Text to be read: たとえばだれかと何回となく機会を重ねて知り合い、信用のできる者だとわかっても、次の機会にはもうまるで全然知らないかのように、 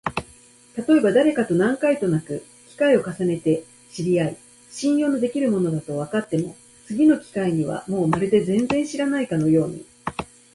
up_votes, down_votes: 3, 1